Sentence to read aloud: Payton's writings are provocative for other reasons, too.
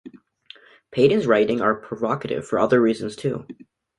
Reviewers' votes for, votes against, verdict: 1, 2, rejected